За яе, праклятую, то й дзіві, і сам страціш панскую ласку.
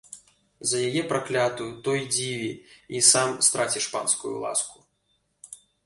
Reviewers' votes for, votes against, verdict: 2, 0, accepted